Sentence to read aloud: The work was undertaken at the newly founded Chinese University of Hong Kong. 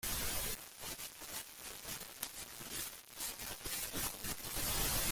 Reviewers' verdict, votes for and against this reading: rejected, 0, 2